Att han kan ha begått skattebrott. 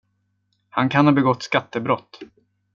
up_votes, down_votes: 1, 2